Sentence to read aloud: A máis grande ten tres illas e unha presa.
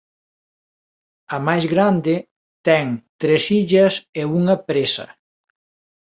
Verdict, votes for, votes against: accepted, 2, 0